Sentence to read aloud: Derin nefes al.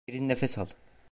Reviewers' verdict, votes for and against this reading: accepted, 2, 0